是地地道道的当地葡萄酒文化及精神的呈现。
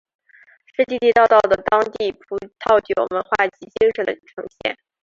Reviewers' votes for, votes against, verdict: 2, 0, accepted